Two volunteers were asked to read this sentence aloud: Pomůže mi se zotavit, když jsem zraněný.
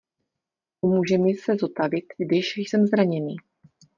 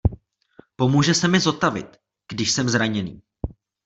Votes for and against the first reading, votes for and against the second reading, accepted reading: 2, 0, 1, 2, first